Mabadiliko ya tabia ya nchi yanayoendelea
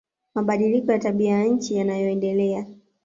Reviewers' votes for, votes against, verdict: 2, 0, accepted